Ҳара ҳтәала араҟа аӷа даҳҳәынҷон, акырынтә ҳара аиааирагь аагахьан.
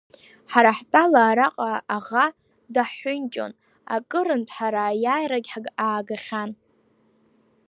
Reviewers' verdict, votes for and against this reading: accepted, 2, 0